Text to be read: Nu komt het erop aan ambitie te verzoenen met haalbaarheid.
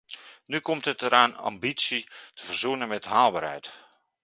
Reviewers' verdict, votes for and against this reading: rejected, 1, 2